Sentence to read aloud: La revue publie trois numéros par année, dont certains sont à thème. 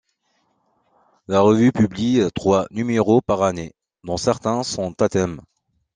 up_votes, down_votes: 2, 0